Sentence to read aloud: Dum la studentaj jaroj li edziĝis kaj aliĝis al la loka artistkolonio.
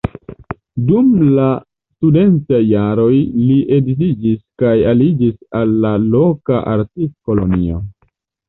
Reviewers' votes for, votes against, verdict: 2, 0, accepted